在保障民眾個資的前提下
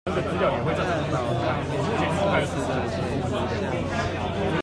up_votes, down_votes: 1, 2